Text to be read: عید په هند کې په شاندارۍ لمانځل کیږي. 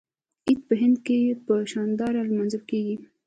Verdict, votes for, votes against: rejected, 0, 2